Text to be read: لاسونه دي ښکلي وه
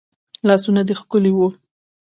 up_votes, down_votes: 2, 0